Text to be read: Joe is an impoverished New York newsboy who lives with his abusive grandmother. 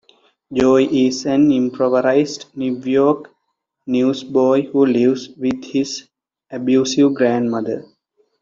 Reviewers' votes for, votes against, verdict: 0, 2, rejected